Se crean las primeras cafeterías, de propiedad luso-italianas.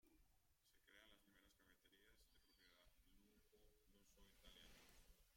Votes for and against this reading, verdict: 0, 2, rejected